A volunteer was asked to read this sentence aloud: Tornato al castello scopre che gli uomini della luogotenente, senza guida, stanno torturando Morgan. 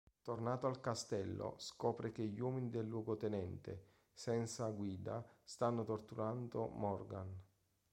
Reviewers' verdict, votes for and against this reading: rejected, 1, 2